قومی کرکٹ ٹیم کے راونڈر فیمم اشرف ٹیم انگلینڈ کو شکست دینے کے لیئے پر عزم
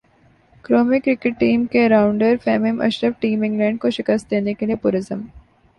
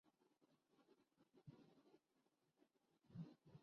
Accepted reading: first